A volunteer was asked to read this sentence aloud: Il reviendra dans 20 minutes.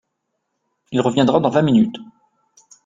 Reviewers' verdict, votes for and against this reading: rejected, 0, 2